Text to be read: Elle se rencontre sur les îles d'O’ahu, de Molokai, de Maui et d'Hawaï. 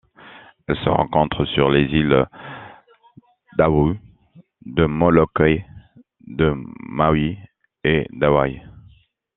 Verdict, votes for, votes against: accepted, 2, 0